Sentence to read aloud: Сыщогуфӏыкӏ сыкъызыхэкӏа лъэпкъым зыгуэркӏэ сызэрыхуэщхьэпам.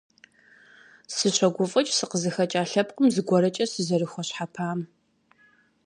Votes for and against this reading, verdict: 2, 0, accepted